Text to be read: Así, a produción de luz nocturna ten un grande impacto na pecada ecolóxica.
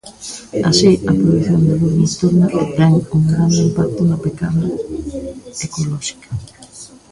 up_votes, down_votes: 1, 2